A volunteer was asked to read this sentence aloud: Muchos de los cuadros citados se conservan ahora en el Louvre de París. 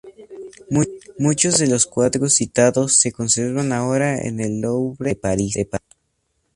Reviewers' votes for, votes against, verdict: 0, 2, rejected